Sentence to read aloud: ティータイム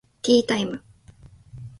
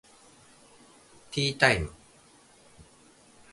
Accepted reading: second